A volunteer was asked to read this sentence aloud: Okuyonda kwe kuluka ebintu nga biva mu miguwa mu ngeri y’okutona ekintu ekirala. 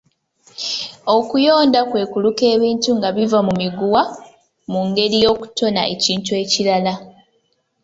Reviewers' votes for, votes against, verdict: 2, 0, accepted